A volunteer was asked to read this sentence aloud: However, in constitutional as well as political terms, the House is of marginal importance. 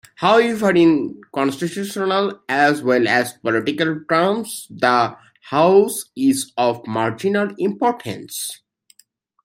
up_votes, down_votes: 2, 0